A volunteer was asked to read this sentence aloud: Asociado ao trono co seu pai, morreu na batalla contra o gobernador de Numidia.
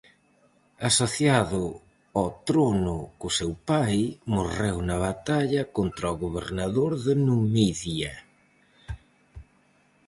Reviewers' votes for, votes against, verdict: 4, 0, accepted